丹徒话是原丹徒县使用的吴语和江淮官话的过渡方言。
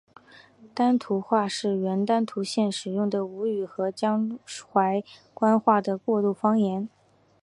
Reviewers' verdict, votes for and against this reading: accepted, 4, 3